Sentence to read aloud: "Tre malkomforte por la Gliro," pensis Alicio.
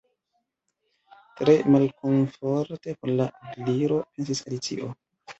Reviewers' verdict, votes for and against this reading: rejected, 0, 2